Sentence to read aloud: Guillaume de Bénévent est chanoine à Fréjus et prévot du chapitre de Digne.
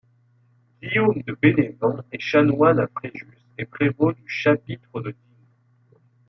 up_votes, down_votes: 2, 1